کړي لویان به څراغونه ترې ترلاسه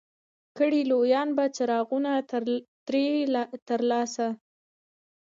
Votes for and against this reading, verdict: 2, 0, accepted